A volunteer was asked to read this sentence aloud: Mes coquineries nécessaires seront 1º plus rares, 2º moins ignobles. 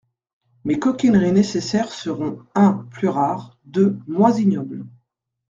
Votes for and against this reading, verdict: 0, 2, rejected